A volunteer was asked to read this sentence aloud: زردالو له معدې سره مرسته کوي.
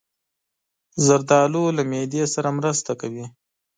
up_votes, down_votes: 2, 0